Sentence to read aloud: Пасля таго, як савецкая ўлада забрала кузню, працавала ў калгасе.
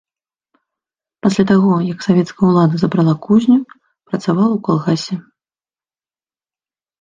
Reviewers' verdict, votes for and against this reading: accepted, 2, 0